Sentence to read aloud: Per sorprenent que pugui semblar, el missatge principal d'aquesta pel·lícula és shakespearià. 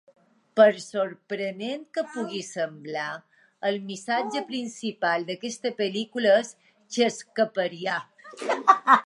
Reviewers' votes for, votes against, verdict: 0, 2, rejected